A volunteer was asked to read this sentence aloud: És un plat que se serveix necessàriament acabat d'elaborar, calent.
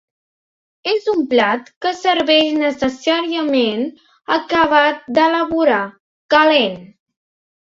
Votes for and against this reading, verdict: 1, 2, rejected